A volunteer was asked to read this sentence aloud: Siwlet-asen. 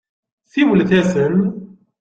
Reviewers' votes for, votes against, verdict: 2, 0, accepted